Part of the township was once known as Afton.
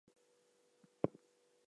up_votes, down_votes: 0, 2